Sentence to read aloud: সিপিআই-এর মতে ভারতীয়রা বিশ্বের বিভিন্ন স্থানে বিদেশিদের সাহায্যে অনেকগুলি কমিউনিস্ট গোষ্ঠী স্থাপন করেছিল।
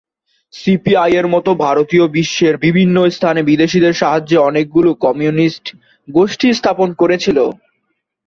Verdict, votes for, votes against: rejected, 0, 2